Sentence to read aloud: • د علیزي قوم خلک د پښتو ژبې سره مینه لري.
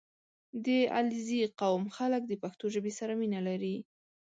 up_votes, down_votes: 3, 0